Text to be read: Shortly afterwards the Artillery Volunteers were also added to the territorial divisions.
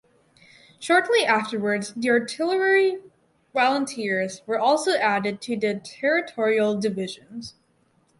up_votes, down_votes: 2, 2